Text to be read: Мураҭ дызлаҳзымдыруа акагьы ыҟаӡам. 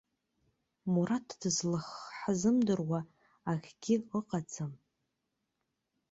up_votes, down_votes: 0, 2